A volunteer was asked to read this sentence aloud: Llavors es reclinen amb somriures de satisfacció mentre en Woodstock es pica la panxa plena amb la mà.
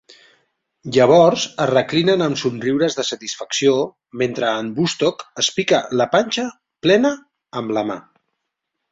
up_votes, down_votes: 2, 0